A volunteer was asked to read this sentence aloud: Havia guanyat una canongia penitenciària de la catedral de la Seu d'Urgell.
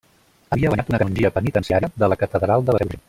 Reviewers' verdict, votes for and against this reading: rejected, 0, 2